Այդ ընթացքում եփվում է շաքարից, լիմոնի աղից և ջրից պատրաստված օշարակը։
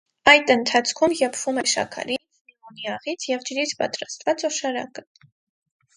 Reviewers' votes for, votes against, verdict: 0, 4, rejected